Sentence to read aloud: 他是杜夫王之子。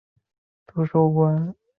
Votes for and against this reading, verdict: 1, 3, rejected